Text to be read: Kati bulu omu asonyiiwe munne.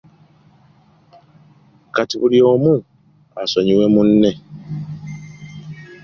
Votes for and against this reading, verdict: 2, 0, accepted